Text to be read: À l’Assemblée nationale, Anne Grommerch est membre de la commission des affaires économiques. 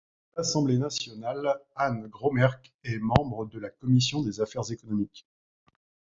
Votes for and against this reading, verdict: 1, 2, rejected